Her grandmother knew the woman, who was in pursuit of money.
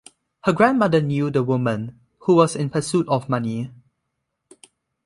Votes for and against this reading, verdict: 2, 0, accepted